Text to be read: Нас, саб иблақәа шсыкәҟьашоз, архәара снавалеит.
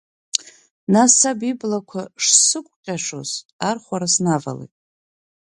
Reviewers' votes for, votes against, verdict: 3, 0, accepted